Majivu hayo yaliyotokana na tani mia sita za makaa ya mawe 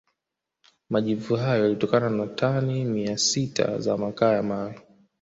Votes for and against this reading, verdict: 2, 0, accepted